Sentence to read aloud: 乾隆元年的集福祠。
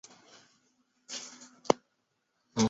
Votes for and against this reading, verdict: 0, 3, rejected